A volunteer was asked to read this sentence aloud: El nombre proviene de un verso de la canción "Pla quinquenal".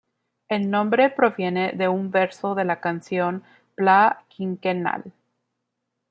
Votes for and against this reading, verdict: 2, 0, accepted